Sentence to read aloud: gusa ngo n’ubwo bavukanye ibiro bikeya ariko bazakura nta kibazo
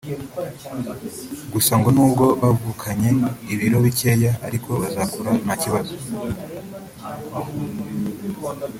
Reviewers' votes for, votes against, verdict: 1, 2, rejected